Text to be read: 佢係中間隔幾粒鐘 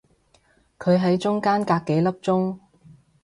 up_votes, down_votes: 0, 2